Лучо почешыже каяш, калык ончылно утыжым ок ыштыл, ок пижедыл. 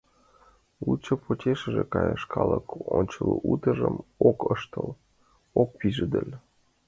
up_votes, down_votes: 4, 3